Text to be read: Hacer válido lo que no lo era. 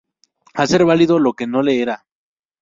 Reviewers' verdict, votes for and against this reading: rejected, 0, 2